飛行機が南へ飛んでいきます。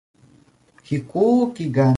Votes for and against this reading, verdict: 0, 2, rejected